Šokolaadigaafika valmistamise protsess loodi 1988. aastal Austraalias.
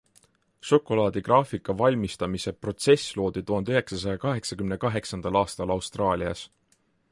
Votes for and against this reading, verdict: 0, 2, rejected